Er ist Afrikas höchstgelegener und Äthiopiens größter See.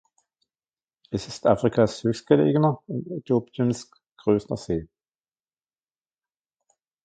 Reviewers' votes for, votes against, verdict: 0, 2, rejected